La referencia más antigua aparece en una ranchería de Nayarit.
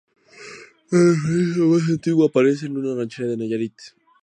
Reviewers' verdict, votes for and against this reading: accepted, 2, 0